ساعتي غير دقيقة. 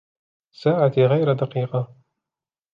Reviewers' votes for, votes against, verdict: 1, 2, rejected